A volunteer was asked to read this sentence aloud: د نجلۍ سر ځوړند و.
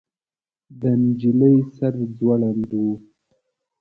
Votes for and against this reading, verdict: 3, 0, accepted